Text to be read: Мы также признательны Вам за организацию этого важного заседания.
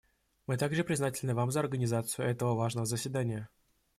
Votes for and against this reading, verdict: 2, 0, accepted